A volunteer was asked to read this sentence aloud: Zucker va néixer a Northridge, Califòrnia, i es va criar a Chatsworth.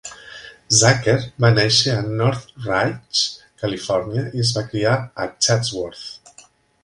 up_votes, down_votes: 1, 2